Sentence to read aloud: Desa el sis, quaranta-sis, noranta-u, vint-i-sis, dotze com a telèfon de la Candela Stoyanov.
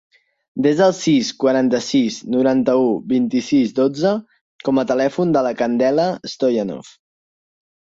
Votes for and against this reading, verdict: 4, 0, accepted